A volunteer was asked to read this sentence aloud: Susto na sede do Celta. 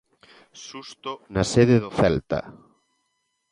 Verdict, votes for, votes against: accepted, 2, 0